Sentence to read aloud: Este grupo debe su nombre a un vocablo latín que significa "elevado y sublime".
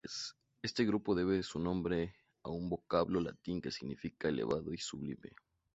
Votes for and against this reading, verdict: 2, 0, accepted